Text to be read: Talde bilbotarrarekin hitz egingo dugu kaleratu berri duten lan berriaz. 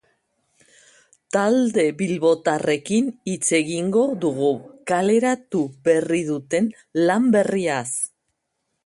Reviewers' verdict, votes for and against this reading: rejected, 1, 2